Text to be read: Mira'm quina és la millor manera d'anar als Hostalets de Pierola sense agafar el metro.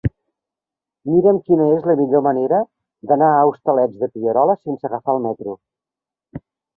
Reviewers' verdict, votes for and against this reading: rejected, 0, 2